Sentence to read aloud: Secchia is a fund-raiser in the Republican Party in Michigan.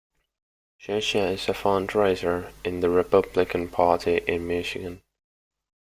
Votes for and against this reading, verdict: 1, 2, rejected